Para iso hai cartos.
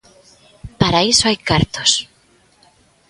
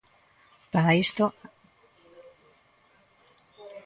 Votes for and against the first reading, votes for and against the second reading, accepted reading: 2, 0, 0, 2, first